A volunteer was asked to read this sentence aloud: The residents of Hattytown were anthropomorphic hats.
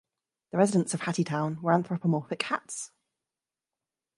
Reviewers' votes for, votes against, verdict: 1, 2, rejected